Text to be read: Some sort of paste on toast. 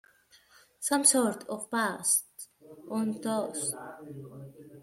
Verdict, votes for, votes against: rejected, 0, 2